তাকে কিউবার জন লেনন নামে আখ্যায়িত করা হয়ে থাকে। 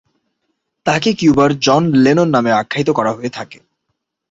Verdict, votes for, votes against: accepted, 9, 0